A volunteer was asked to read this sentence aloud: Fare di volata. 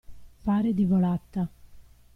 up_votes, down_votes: 2, 0